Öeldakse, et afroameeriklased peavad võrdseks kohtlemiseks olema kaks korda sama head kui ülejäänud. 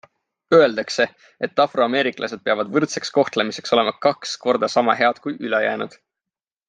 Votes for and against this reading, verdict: 4, 0, accepted